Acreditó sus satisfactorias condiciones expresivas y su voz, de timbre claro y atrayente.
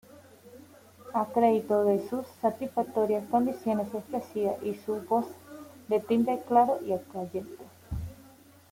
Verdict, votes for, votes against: rejected, 0, 2